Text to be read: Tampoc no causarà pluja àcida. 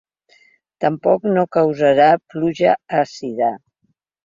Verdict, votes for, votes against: accepted, 3, 0